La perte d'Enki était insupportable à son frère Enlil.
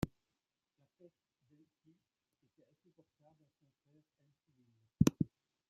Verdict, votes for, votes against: rejected, 1, 2